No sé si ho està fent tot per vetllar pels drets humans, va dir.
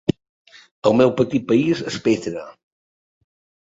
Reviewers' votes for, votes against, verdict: 0, 2, rejected